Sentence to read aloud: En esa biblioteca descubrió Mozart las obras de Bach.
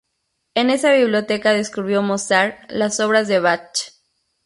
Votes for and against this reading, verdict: 2, 0, accepted